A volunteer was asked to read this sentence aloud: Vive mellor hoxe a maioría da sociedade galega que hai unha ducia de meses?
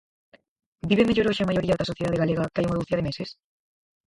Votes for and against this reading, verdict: 2, 4, rejected